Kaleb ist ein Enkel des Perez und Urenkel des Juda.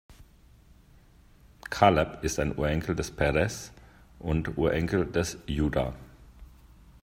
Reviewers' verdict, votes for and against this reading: rejected, 0, 2